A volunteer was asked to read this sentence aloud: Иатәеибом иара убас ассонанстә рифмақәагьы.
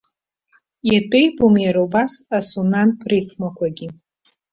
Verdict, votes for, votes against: rejected, 1, 2